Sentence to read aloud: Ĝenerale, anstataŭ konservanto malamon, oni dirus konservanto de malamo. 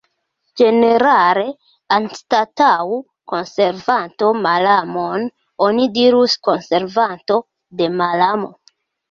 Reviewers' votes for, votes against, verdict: 1, 2, rejected